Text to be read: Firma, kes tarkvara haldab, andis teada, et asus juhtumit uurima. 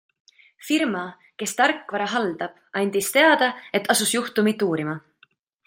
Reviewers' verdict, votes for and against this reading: accepted, 2, 0